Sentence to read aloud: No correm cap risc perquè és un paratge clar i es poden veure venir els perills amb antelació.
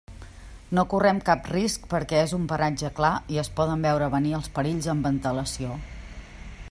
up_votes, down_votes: 2, 0